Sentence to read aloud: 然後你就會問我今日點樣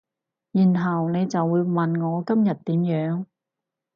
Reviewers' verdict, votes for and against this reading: accepted, 4, 0